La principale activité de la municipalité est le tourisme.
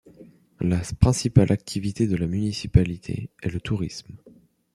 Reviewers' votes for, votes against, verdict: 1, 2, rejected